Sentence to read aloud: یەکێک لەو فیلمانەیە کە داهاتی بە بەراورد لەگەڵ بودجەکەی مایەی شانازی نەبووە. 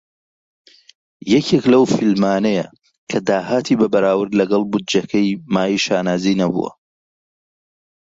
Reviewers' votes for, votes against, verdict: 2, 0, accepted